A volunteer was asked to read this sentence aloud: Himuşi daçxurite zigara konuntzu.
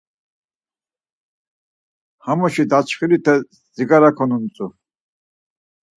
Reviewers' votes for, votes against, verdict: 0, 4, rejected